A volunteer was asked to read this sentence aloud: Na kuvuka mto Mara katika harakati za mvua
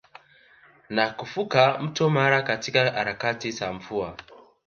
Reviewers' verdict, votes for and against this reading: rejected, 1, 2